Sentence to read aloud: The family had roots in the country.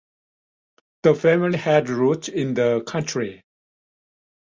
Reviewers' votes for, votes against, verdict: 2, 0, accepted